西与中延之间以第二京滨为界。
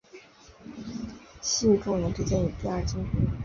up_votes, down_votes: 0, 5